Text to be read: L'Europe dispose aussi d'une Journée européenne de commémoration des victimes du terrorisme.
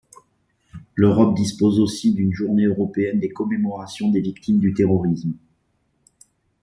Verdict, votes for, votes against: rejected, 1, 2